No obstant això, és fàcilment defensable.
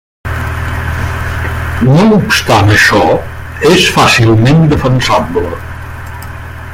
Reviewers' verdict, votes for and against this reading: rejected, 0, 2